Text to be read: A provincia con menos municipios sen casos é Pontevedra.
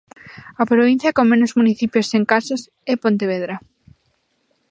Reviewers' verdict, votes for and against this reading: accepted, 2, 0